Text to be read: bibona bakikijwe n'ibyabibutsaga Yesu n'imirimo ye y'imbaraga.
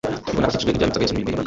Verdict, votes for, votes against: rejected, 0, 2